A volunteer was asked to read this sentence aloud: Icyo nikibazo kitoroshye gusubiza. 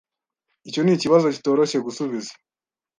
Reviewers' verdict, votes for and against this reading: accepted, 2, 0